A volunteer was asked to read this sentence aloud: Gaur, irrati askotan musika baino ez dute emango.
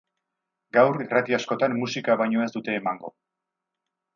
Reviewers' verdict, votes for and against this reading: accepted, 2, 0